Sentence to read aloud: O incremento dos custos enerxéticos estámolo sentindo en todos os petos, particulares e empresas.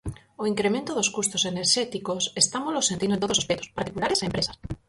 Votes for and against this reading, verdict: 0, 4, rejected